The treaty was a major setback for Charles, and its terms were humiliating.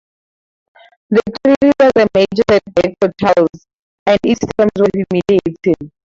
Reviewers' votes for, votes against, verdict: 0, 4, rejected